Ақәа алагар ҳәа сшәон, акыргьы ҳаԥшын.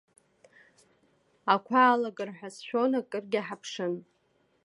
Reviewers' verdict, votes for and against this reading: accepted, 2, 0